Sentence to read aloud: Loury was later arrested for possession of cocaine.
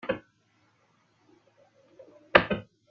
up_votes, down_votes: 0, 2